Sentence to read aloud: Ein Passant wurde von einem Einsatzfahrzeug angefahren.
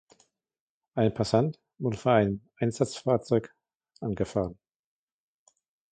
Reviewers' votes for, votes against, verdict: 2, 1, accepted